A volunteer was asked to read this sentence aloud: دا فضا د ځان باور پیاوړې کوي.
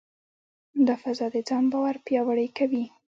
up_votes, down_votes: 2, 0